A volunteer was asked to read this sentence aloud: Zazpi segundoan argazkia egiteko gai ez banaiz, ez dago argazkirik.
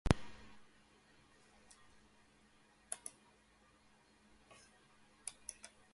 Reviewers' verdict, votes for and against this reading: rejected, 0, 3